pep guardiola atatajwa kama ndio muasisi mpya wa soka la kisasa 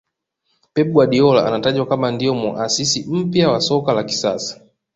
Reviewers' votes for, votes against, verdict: 1, 2, rejected